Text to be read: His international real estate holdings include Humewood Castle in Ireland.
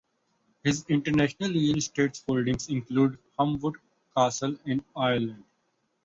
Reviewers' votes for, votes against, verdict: 0, 2, rejected